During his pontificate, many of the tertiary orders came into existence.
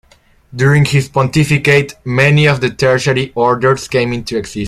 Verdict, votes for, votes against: rejected, 0, 2